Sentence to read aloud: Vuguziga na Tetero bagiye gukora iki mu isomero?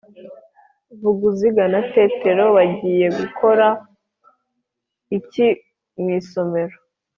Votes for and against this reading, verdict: 2, 0, accepted